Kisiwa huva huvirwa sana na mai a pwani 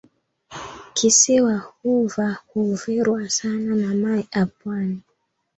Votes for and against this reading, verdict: 2, 0, accepted